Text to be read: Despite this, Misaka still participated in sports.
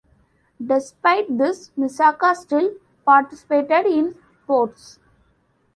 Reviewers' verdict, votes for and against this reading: accepted, 2, 0